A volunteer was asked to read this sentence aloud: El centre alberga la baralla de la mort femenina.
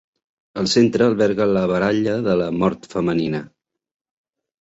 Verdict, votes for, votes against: accepted, 3, 0